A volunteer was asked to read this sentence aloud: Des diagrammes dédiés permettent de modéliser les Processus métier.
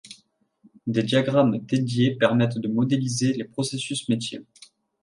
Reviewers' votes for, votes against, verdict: 2, 0, accepted